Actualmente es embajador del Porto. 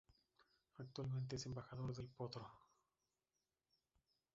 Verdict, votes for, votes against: rejected, 0, 2